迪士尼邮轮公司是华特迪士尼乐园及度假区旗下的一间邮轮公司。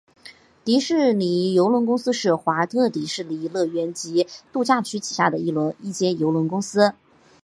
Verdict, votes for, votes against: accepted, 3, 2